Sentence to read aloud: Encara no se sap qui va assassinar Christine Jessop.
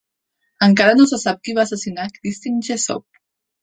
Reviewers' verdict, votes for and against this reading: accepted, 2, 0